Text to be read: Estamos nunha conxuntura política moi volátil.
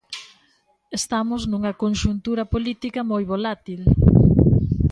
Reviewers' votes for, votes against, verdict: 2, 0, accepted